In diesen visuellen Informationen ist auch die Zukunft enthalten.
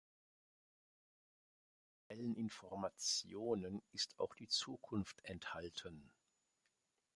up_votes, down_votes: 0, 2